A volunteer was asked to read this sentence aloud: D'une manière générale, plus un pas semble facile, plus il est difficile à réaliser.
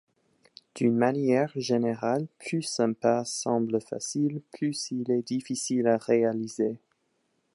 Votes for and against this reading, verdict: 2, 0, accepted